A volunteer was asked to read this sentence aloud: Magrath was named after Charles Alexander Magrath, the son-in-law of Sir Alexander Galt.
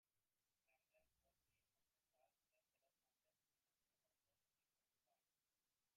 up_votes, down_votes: 0, 2